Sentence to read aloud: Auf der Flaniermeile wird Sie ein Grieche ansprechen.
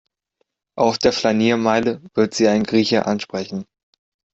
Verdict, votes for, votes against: accepted, 2, 0